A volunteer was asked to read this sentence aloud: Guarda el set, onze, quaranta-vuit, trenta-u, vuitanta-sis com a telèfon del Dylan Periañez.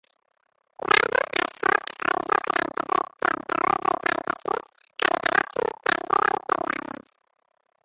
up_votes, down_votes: 0, 2